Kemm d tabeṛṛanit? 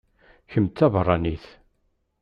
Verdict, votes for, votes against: accepted, 2, 0